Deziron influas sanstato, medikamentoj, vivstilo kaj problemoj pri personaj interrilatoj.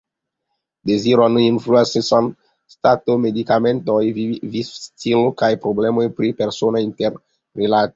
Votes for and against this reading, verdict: 1, 2, rejected